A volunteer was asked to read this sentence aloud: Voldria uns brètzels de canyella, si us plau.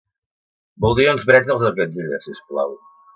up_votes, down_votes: 1, 2